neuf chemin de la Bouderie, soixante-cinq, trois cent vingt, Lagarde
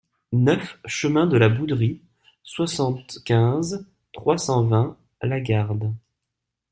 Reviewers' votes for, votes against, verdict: 0, 2, rejected